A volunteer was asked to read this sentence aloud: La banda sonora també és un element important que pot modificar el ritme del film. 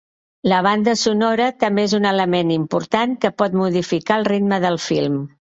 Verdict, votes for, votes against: accepted, 2, 0